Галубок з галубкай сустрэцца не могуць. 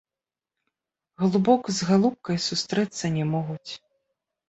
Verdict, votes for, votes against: accepted, 2, 0